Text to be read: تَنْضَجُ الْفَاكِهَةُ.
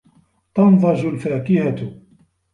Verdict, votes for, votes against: accepted, 3, 1